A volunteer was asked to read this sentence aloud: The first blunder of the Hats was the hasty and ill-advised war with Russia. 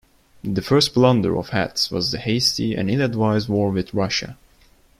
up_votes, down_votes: 0, 2